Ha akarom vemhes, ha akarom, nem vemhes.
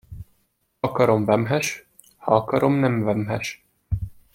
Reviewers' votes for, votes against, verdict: 1, 2, rejected